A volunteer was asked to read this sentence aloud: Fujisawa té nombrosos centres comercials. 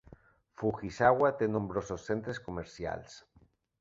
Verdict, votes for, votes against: accepted, 2, 0